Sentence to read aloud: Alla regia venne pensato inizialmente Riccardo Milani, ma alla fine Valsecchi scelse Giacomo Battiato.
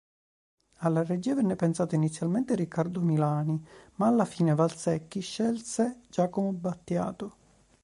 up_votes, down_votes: 2, 0